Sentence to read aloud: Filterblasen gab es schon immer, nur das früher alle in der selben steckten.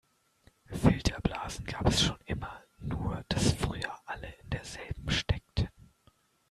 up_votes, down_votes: 2, 1